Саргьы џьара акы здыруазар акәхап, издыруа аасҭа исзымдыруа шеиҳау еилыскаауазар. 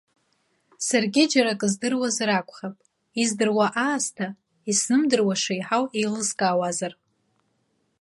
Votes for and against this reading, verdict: 2, 0, accepted